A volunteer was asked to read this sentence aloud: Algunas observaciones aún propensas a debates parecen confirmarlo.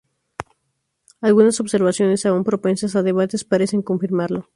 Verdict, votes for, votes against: accepted, 4, 0